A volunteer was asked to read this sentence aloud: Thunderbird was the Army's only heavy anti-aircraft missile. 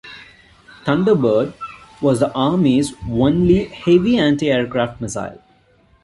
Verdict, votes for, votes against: accepted, 3, 0